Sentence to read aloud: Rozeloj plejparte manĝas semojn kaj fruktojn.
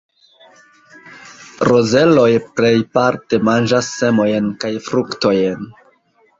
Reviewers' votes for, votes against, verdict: 2, 1, accepted